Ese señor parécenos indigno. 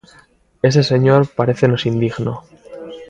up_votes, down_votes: 2, 0